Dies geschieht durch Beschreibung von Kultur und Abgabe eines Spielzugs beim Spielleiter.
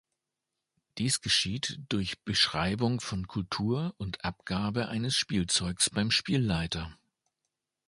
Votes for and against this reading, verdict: 1, 2, rejected